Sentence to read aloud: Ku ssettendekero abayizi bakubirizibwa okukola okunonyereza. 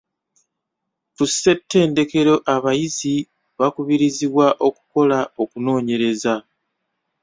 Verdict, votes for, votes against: rejected, 0, 2